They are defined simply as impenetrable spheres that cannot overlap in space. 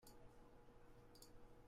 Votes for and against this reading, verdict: 0, 2, rejected